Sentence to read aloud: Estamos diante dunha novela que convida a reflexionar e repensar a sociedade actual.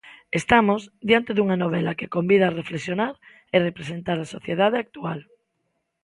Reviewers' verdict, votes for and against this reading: rejected, 0, 2